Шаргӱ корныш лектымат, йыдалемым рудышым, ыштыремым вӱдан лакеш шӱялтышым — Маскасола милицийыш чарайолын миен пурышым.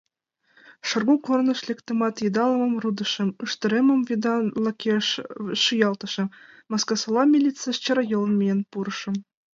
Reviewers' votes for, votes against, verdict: 1, 2, rejected